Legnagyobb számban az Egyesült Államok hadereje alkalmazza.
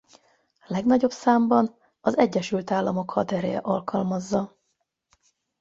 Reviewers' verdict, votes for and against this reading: accepted, 8, 0